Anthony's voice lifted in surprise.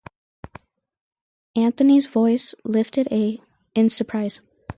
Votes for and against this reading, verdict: 0, 2, rejected